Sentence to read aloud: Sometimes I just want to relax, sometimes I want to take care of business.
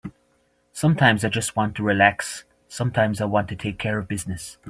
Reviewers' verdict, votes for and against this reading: accepted, 2, 0